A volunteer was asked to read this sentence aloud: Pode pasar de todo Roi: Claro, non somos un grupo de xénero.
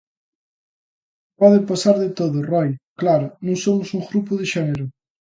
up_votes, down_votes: 2, 0